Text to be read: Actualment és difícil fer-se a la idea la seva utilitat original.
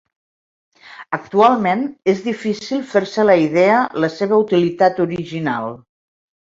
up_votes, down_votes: 2, 0